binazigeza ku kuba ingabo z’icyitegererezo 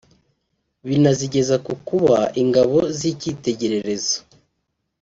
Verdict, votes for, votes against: accepted, 2, 0